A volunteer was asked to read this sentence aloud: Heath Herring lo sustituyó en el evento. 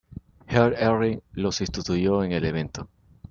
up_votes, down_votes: 2, 0